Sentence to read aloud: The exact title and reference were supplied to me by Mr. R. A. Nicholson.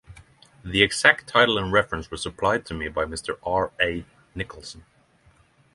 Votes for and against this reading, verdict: 3, 0, accepted